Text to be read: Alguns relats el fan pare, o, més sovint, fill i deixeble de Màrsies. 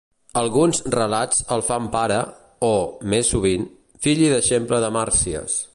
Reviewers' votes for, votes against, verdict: 2, 0, accepted